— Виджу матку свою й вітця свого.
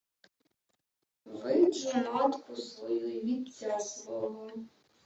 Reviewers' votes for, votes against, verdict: 1, 2, rejected